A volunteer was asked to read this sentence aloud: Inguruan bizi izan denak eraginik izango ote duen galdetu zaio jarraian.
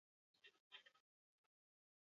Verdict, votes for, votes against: rejected, 0, 6